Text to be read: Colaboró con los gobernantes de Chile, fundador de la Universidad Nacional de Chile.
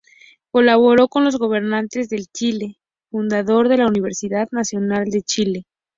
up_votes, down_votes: 2, 0